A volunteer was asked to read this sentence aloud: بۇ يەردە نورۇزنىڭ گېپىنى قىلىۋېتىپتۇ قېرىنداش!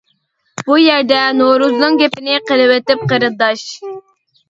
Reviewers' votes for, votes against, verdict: 0, 2, rejected